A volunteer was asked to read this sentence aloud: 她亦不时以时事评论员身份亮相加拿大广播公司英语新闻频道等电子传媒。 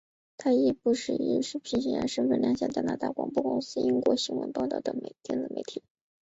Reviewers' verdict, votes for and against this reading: rejected, 2, 2